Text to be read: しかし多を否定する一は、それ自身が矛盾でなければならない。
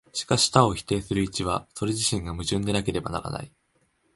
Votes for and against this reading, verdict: 2, 0, accepted